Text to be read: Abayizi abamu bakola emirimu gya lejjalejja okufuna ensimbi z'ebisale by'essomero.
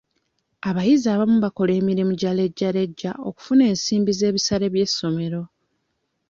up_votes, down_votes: 2, 0